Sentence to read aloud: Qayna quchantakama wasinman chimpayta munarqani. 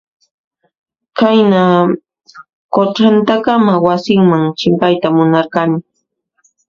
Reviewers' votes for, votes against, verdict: 1, 2, rejected